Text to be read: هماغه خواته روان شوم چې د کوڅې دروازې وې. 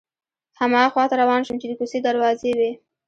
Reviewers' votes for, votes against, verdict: 1, 2, rejected